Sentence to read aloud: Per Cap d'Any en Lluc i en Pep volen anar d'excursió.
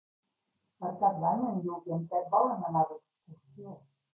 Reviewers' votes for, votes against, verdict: 0, 2, rejected